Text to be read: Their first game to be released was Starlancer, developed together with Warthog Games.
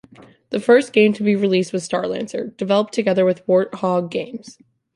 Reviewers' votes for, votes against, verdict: 1, 2, rejected